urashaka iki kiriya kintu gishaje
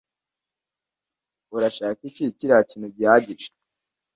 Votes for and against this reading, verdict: 0, 2, rejected